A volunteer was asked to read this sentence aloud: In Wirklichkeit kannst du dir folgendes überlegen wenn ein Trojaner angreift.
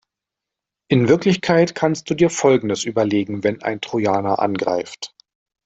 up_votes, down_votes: 0, 2